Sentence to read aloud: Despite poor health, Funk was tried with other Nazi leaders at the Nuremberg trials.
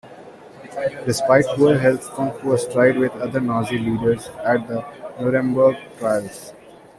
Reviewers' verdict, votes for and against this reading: accepted, 2, 0